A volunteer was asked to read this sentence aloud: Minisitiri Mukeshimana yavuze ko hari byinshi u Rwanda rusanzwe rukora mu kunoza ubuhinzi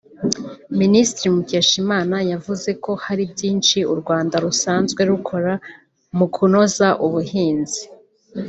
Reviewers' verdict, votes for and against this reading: accepted, 3, 1